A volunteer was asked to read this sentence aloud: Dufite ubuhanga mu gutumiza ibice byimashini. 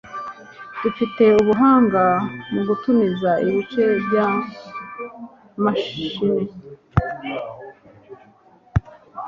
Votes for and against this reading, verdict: 1, 2, rejected